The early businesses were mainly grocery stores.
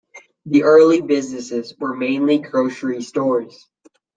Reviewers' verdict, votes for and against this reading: accepted, 2, 0